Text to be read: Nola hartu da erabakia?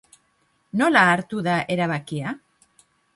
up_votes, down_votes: 2, 1